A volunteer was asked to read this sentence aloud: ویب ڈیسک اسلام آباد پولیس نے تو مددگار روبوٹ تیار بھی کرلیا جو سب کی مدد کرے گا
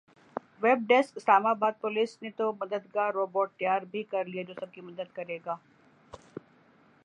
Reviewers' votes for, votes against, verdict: 2, 0, accepted